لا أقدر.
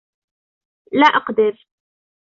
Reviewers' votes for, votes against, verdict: 2, 0, accepted